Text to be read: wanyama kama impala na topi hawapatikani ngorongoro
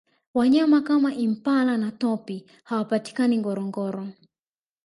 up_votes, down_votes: 1, 2